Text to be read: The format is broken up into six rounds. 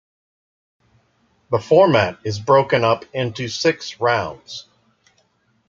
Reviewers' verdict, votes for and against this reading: accepted, 2, 0